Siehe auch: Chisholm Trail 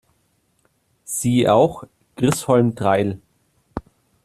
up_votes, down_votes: 0, 2